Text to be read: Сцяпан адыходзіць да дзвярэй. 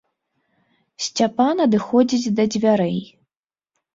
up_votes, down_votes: 2, 0